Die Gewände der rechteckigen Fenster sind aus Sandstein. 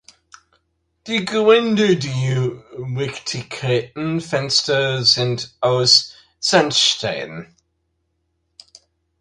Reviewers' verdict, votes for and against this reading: rejected, 0, 2